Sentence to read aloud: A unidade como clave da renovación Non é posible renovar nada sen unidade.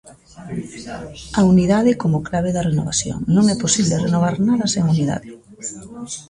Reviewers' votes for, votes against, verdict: 1, 2, rejected